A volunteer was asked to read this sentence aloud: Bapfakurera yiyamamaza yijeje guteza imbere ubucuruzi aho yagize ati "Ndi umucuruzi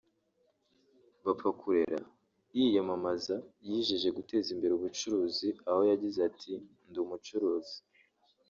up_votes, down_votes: 2, 0